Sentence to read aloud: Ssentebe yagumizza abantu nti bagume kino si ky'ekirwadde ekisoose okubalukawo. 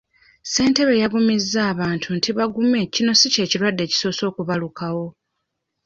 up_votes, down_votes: 2, 0